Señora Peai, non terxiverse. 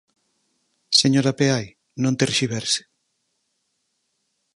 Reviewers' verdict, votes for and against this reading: accepted, 4, 2